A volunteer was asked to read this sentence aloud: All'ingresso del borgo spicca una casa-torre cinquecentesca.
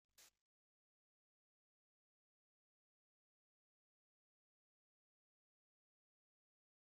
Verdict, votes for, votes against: rejected, 0, 2